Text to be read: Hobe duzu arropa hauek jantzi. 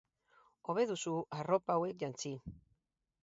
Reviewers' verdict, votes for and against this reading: rejected, 2, 2